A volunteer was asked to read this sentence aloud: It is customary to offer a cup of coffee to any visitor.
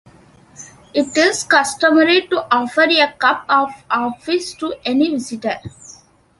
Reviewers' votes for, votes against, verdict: 0, 2, rejected